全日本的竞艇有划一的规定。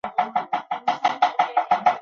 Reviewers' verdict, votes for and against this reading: rejected, 0, 2